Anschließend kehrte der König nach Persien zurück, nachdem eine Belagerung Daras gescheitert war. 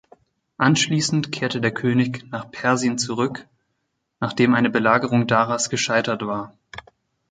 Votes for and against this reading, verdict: 2, 0, accepted